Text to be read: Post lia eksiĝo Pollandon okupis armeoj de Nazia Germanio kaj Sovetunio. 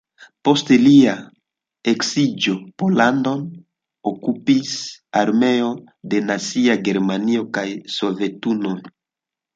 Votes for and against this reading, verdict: 2, 1, accepted